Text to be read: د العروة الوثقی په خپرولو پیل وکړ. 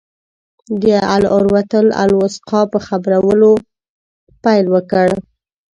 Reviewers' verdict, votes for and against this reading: rejected, 1, 2